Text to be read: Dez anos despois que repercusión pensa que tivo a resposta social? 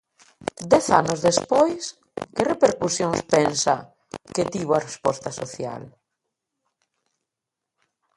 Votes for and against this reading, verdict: 1, 2, rejected